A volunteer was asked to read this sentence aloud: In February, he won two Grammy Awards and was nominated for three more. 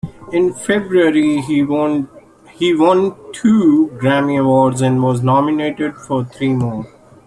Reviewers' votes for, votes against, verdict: 0, 2, rejected